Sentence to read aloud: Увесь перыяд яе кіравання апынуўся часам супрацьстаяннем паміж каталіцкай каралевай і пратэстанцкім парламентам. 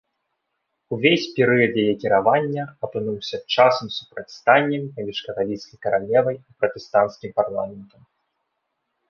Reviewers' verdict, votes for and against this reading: rejected, 0, 2